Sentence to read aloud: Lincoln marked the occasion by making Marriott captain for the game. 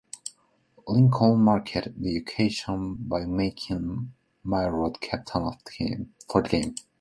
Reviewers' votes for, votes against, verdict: 0, 2, rejected